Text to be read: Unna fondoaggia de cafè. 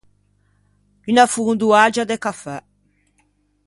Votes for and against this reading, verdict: 2, 0, accepted